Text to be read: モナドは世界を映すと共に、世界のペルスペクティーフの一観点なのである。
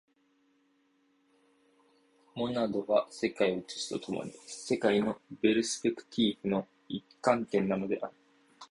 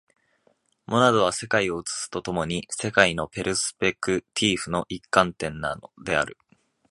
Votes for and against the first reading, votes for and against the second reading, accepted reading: 2, 0, 4, 5, first